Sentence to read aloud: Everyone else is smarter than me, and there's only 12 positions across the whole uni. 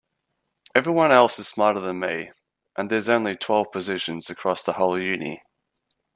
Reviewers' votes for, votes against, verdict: 0, 2, rejected